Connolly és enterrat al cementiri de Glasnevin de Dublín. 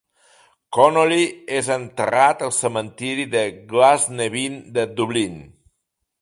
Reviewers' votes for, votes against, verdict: 2, 0, accepted